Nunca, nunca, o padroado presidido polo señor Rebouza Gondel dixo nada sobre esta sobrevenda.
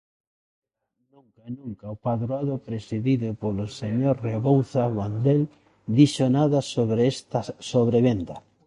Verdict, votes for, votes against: rejected, 0, 2